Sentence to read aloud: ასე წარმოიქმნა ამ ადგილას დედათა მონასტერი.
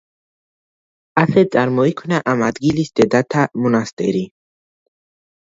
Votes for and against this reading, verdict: 1, 2, rejected